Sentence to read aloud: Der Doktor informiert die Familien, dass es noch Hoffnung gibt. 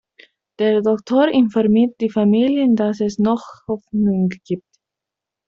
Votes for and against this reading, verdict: 2, 1, accepted